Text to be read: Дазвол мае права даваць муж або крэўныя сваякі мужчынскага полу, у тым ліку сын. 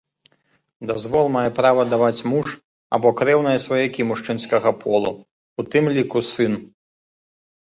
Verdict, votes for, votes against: accepted, 2, 0